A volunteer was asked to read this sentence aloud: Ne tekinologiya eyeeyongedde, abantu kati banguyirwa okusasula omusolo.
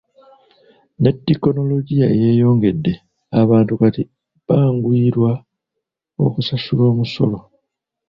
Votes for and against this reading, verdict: 1, 2, rejected